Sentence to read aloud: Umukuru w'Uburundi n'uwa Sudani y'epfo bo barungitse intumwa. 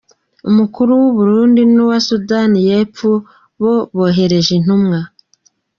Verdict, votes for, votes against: rejected, 0, 2